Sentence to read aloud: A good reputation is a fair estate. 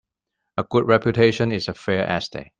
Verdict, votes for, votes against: accepted, 2, 1